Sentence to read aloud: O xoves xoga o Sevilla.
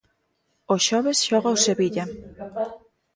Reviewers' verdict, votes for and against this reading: rejected, 0, 2